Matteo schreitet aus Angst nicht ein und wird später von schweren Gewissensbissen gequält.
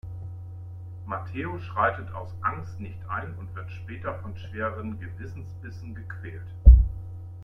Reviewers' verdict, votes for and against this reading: rejected, 1, 2